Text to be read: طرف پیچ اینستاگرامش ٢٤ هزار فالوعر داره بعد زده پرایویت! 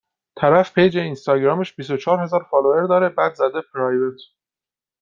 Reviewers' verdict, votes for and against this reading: rejected, 0, 2